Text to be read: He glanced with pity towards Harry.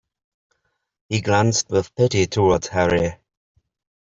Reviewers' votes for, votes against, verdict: 0, 2, rejected